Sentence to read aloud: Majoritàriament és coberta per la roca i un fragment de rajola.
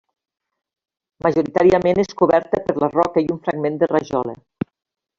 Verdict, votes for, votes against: accepted, 2, 1